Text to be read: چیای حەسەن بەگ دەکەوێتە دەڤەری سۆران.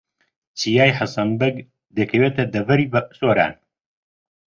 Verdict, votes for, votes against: rejected, 0, 2